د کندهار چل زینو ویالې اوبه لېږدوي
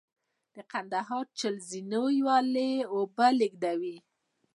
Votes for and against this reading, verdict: 0, 2, rejected